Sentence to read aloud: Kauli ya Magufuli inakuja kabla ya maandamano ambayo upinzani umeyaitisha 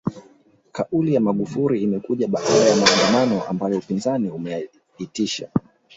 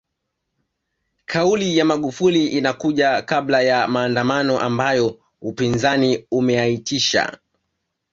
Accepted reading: second